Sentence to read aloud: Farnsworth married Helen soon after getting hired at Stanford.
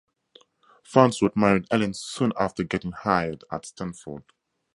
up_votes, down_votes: 2, 0